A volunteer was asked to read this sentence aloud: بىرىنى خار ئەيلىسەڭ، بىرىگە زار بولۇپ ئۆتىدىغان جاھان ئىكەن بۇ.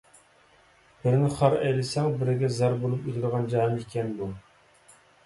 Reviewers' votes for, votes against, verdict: 1, 2, rejected